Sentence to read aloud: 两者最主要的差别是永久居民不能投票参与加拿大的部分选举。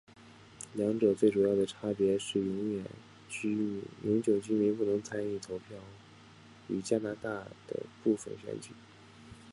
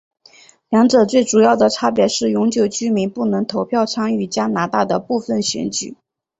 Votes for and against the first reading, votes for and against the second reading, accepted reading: 2, 2, 2, 0, second